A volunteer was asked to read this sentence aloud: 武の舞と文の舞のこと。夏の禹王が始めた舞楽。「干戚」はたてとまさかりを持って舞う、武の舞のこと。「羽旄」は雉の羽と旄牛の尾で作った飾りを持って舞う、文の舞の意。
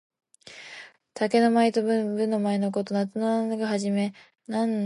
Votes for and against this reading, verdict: 2, 0, accepted